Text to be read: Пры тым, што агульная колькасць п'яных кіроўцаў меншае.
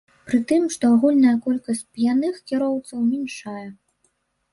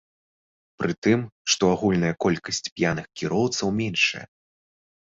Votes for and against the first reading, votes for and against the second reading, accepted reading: 0, 2, 2, 0, second